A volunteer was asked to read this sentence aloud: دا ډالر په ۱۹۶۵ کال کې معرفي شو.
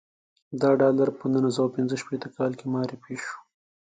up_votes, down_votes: 0, 2